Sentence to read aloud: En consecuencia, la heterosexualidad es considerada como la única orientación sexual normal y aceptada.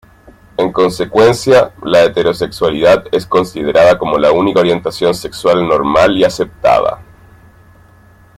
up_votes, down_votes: 1, 2